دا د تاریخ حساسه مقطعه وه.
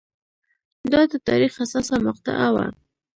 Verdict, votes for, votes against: accepted, 2, 0